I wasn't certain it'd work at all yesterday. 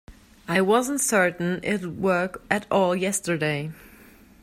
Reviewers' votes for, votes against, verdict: 2, 0, accepted